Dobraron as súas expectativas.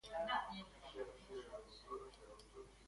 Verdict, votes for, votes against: rejected, 0, 2